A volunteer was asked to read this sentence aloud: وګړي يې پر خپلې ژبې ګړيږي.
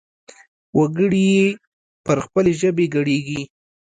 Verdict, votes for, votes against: rejected, 0, 2